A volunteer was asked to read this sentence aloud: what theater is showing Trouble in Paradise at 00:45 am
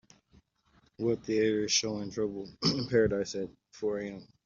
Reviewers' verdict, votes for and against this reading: rejected, 0, 2